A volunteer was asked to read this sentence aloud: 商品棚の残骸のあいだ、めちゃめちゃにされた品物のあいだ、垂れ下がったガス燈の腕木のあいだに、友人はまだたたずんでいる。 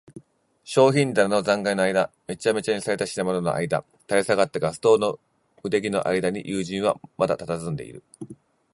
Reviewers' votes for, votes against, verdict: 3, 0, accepted